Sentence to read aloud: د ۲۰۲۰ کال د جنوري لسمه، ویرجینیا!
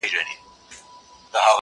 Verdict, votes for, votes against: rejected, 0, 2